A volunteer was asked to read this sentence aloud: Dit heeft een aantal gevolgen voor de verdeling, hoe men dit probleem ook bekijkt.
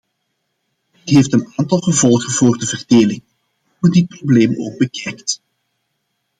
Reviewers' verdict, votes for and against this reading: rejected, 0, 2